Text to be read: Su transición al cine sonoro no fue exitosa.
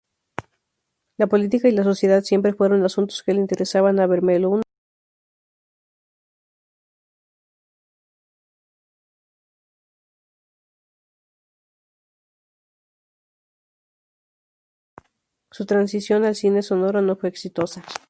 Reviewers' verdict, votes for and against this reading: rejected, 0, 2